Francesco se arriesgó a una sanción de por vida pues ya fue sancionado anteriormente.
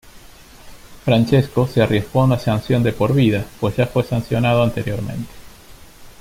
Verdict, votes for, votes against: accepted, 2, 0